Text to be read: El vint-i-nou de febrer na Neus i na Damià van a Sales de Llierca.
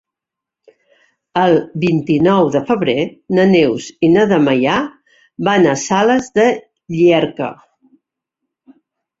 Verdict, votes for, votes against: rejected, 0, 2